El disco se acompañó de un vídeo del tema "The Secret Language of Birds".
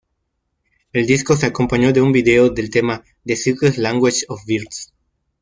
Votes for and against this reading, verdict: 0, 2, rejected